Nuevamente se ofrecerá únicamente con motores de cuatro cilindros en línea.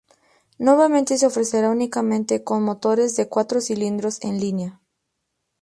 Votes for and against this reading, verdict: 2, 0, accepted